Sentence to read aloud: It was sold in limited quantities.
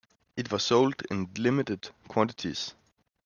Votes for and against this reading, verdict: 2, 0, accepted